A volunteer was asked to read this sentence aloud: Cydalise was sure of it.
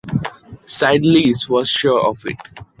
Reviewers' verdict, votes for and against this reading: accepted, 2, 0